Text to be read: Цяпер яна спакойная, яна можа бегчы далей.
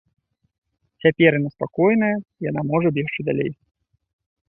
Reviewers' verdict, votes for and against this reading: rejected, 0, 2